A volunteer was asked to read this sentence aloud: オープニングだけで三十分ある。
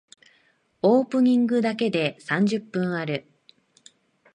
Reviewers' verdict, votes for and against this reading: accepted, 2, 1